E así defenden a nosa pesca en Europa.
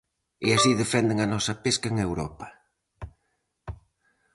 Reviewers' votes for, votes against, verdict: 4, 0, accepted